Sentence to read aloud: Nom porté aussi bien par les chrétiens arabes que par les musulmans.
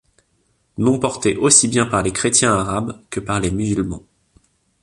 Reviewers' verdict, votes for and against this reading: accepted, 2, 0